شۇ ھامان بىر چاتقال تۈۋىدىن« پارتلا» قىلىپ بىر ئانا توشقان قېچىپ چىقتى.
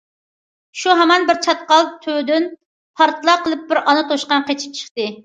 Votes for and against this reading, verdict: 2, 0, accepted